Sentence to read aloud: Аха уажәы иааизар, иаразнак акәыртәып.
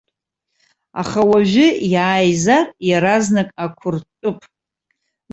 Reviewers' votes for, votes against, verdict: 1, 2, rejected